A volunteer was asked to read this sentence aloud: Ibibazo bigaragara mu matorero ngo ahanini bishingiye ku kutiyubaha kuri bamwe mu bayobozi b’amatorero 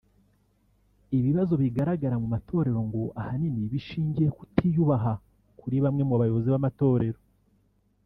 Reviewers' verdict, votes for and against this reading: accepted, 4, 0